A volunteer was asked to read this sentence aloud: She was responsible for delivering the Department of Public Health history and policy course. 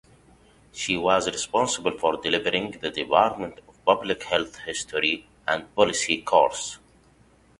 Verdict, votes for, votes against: rejected, 0, 2